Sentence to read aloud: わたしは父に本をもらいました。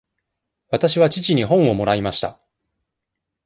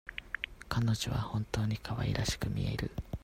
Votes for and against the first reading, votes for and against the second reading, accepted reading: 2, 0, 0, 2, first